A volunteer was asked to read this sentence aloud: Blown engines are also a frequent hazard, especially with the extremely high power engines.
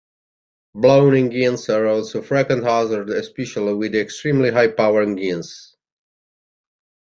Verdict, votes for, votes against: rejected, 1, 2